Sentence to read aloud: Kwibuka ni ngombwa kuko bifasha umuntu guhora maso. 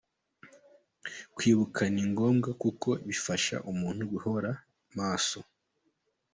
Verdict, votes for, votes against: accepted, 2, 0